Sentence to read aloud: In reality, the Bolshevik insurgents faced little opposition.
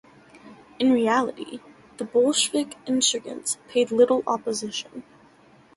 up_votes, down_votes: 0, 2